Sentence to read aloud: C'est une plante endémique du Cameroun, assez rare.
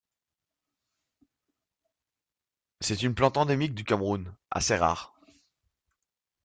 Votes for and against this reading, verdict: 2, 0, accepted